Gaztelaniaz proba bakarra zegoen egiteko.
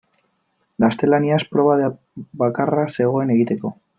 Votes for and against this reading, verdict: 0, 2, rejected